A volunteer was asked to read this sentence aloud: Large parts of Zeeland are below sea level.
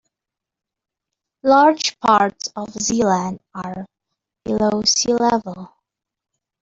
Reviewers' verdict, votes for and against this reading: accepted, 2, 0